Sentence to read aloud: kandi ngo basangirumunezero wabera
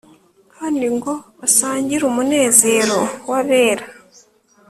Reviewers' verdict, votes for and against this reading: accepted, 3, 0